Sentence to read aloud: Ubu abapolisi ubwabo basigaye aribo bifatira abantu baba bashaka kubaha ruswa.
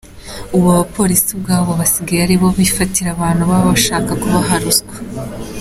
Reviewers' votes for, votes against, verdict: 2, 0, accepted